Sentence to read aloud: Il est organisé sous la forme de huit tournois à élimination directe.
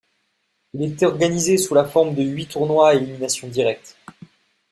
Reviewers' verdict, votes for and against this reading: accepted, 2, 0